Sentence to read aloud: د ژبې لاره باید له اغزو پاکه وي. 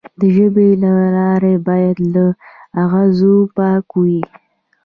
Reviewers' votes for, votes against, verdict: 2, 0, accepted